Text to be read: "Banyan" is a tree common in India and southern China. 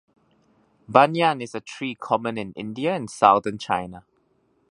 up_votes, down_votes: 2, 0